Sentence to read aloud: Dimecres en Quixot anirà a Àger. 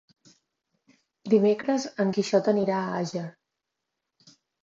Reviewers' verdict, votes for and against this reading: accepted, 2, 0